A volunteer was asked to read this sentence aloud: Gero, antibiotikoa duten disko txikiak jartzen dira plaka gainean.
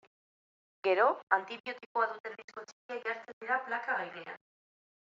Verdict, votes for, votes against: accepted, 2, 1